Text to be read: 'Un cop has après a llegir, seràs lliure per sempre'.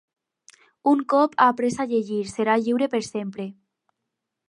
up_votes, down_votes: 0, 4